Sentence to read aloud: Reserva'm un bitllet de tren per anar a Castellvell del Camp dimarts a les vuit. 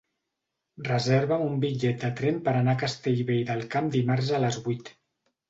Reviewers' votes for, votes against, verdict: 2, 0, accepted